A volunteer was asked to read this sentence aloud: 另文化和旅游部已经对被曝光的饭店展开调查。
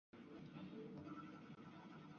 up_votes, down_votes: 0, 2